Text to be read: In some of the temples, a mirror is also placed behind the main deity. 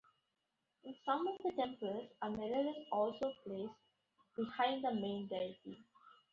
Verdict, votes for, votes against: rejected, 1, 2